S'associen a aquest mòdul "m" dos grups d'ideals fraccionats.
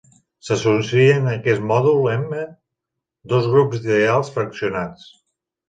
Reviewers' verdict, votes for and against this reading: rejected, 0, 3